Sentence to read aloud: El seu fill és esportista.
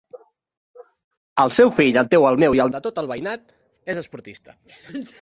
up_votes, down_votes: 0, 2